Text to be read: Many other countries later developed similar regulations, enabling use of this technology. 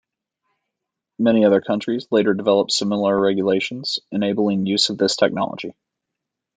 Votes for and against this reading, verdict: 2, 0, accepted